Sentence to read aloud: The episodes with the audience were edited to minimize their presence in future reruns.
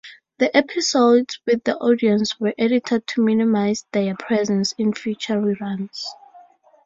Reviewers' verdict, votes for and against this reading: accepted, 2, 0